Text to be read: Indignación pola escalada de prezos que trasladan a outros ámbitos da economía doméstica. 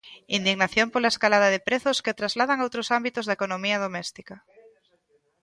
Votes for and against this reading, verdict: 0, 2, rejected